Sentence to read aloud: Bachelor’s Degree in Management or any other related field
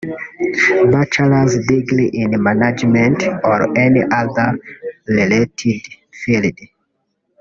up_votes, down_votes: 0, 2